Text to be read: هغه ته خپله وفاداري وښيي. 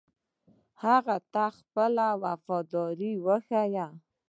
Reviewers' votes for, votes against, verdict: 1, 2, rejected